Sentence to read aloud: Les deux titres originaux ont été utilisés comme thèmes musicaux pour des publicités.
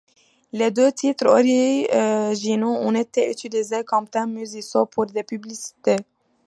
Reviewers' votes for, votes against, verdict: 0, 2, rejected